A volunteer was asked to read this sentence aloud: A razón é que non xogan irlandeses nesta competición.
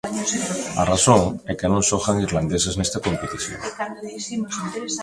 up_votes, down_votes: 1, 2